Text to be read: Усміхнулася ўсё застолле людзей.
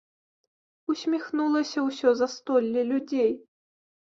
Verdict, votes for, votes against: accepted, 2, 0